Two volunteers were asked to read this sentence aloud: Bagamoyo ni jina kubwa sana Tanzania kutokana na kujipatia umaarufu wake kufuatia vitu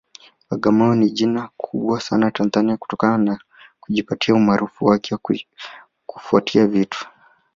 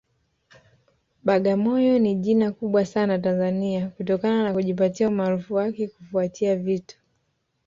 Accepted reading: second